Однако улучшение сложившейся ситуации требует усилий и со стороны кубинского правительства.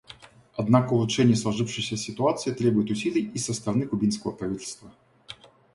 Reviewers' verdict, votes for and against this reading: accepted, 2, 0